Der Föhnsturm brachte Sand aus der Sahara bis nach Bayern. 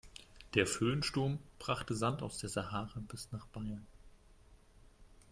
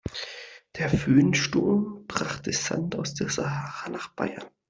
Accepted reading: first